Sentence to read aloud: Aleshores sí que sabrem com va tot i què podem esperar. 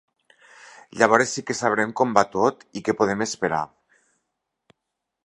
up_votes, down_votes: 1, 2